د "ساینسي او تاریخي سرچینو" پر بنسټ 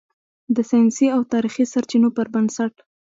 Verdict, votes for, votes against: accepted, 2, 0